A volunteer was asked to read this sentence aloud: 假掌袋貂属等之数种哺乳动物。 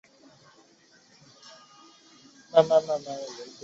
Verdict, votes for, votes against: rejected, 0, 2